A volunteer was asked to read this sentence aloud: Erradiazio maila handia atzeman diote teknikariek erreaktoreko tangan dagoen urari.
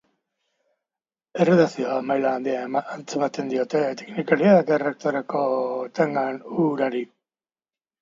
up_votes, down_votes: 2, 3